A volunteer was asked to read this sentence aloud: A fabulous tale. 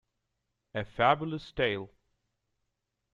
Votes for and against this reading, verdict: 2, 0, accepted